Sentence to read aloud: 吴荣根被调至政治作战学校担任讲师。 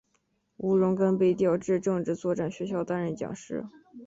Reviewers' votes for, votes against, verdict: 3, 1, accepted